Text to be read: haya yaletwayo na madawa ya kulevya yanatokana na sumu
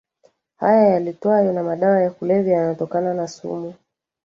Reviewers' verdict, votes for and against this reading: rejected, 0, 2